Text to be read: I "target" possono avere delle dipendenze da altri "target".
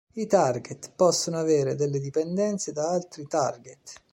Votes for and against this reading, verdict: 2, 0, accepted